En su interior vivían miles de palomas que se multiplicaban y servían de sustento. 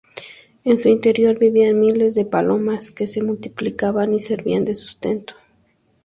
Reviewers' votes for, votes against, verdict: 2, 0, accepted